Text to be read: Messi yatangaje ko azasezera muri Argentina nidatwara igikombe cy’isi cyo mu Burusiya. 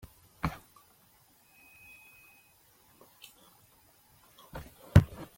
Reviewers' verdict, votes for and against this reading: rejected, 0, 2